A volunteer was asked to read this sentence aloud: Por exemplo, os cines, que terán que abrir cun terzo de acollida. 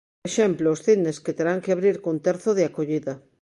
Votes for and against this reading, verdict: 1, 2, rejected